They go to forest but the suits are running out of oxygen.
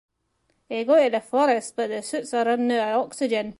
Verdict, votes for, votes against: rejected, 1, 2